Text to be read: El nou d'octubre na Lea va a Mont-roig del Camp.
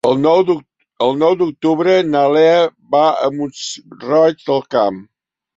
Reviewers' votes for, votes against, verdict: 0, 2, rejected